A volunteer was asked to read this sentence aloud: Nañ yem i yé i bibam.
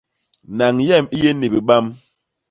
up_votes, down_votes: 0, 2